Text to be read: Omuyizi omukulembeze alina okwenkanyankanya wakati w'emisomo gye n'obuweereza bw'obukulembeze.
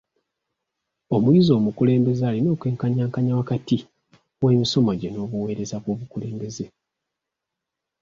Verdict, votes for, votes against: accepted, 2, 0